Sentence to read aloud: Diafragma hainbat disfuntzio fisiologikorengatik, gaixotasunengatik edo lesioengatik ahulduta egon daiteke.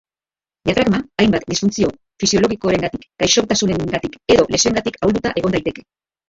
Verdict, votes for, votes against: accepted, 2, 1